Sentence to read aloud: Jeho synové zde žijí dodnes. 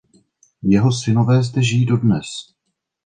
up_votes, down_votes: 2, 0